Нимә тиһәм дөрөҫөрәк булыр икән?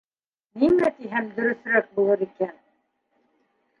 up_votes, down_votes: 1, 2